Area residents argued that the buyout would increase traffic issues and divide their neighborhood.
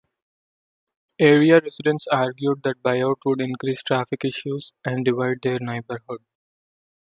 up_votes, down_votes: 0, 2